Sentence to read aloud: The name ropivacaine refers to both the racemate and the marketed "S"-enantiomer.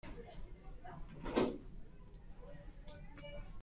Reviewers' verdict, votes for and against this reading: rejected, 0, 2